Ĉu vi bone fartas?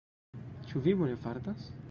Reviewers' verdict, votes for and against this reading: rejected, 1, 2